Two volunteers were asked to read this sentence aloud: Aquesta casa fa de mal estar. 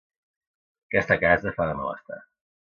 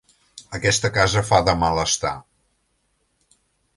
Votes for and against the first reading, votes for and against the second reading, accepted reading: 1, 2, 5, 0, second